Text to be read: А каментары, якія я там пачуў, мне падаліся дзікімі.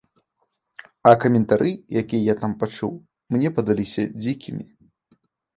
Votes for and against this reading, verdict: 2, 0, accepted